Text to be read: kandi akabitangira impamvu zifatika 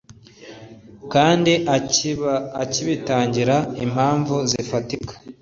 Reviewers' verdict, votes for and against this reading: rejected, 0, 2